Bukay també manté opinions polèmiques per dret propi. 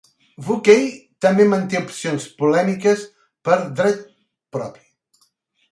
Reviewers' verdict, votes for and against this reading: rejected, 1, 2